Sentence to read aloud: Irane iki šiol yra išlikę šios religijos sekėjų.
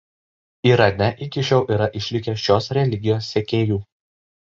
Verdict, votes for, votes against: accepted, 2, 0